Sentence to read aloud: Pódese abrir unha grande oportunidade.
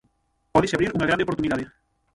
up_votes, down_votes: 0, 6